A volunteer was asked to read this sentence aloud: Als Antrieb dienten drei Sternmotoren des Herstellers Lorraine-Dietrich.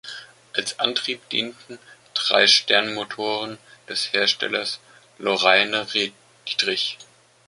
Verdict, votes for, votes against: rejected, 1, 2